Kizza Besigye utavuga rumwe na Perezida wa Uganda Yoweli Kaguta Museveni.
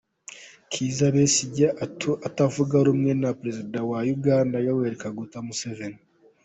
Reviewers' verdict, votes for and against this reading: rejected, 0, 2